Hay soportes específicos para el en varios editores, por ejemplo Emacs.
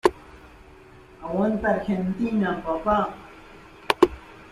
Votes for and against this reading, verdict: 0, 2, rejected